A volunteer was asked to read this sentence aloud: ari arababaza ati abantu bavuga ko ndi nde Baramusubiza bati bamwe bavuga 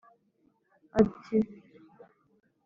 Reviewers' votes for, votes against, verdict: 0, 2, rejected